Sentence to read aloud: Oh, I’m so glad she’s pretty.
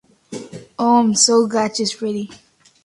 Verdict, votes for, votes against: accepted, 2, 0